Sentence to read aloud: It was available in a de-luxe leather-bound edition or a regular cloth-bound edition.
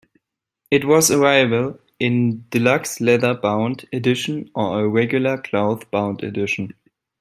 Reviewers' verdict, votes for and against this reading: rejected, 0, 2